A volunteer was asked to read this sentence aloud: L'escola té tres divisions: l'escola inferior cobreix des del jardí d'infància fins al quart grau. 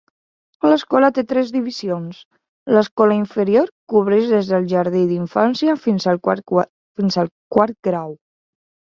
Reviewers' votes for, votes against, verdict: 0, 2, rejected